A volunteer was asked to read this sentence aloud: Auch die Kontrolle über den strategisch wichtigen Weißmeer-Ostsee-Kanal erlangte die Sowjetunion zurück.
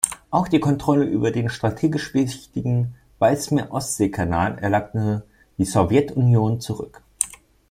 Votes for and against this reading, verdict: 1, 2, rejected